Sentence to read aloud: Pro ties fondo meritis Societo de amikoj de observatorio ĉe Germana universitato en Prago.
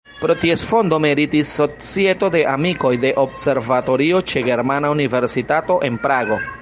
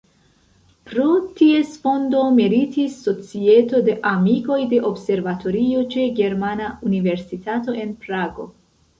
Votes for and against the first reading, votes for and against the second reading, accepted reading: 2, 0, 1, 2, first